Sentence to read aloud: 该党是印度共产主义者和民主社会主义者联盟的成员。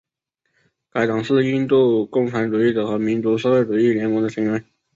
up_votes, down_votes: 0, 2